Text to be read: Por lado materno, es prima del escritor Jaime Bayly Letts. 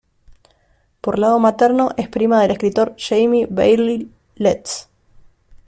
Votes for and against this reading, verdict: 0, 2, rejected